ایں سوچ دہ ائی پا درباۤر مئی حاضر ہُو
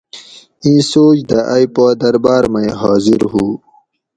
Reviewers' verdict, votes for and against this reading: rejected, 2, 2